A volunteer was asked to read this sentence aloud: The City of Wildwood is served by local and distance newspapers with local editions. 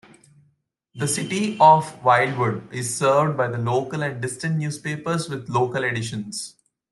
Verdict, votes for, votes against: accepted, 2, 0